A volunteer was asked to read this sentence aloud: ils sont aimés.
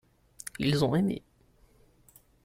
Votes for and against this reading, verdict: 1, 2, rejected